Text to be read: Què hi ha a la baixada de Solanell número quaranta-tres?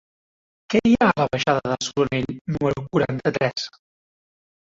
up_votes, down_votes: 0, 2